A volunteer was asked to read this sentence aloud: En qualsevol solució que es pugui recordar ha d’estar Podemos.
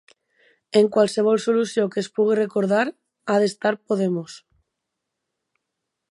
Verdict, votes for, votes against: accepted, 4, 0